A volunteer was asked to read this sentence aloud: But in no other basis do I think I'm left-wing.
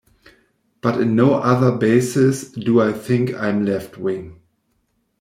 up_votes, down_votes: 1, 2